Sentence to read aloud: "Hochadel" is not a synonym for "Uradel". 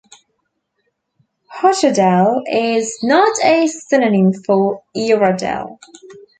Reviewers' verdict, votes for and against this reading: accepted, 2, 0